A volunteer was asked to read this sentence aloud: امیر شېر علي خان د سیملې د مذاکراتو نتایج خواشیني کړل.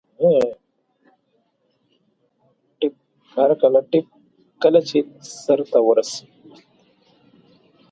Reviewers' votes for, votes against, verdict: 1, 2, rejected